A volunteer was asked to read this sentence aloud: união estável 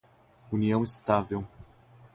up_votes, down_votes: 0, 4